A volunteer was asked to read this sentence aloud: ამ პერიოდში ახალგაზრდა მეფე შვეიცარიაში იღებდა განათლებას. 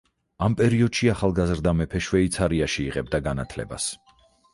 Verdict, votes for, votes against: accepted, 4, 0